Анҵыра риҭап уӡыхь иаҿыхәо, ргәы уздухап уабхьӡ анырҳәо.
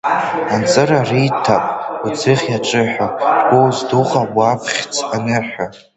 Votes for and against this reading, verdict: 1, 2, rejected